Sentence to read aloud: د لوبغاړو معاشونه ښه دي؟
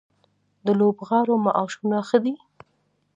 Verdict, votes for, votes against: accepted, 2, 0